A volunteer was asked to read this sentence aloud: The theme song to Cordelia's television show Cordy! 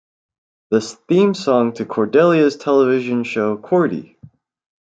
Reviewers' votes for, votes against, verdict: 0, 2, rejected